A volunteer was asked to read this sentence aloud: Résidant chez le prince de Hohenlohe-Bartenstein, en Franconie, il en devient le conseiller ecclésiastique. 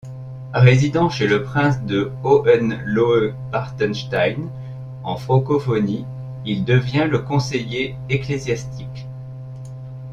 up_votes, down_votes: 1, 2